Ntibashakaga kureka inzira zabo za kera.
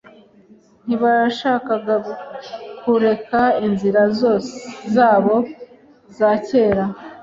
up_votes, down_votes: 1, 2